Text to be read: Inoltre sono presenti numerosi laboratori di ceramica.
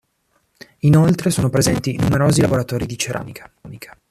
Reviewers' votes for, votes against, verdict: 1, 2, rejected